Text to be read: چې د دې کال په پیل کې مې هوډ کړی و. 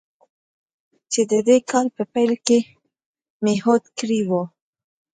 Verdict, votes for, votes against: accepted, 2, 0